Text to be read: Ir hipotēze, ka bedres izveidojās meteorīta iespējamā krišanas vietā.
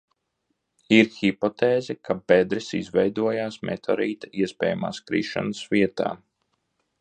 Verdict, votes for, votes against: rejected, 0, 2